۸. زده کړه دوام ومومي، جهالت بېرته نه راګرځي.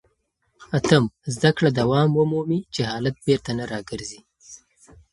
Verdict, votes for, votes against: rejected, 0, 2